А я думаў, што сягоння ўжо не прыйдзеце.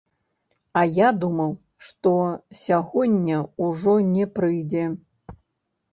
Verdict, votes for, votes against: rejected, 1, 2